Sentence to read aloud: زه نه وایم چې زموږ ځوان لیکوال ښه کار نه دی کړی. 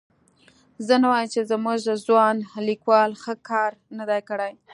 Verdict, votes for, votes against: accepted, 2, 0